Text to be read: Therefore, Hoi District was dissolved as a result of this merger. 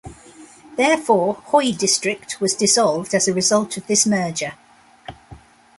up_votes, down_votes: 2, 0